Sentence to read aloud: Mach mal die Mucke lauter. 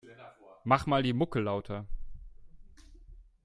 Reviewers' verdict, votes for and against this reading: rejected, 0, 2